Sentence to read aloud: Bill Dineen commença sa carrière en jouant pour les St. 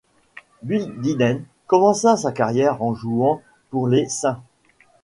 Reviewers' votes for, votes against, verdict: 2, 1, accepted